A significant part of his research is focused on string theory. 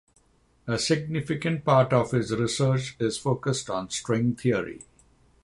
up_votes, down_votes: 3, 0